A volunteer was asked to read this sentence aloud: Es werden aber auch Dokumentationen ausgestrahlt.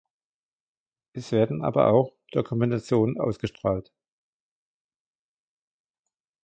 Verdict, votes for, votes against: accepted, 2, 1